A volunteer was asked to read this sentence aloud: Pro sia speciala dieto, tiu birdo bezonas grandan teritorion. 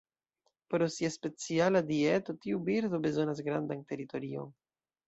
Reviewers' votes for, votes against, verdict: 2, 0, accepted